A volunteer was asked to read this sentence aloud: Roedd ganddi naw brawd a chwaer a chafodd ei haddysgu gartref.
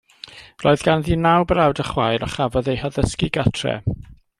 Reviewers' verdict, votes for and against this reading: rejected, 1, 2